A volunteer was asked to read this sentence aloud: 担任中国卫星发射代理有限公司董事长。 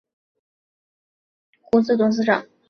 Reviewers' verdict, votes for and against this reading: accepted, 2, 1